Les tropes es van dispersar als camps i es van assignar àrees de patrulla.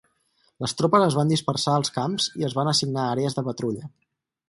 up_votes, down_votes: 4, 0